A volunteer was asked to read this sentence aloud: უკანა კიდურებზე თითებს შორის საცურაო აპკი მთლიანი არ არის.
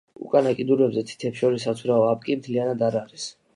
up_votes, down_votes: 2, 1